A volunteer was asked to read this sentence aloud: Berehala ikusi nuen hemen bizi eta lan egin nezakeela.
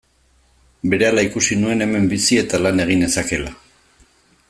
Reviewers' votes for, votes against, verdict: 3, 0, accepted